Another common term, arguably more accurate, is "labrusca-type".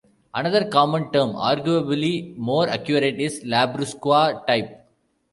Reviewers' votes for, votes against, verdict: 0, 2, rejected